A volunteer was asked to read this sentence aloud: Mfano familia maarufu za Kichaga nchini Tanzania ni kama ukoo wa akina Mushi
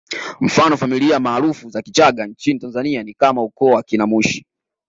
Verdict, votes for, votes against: accepted, 2, 0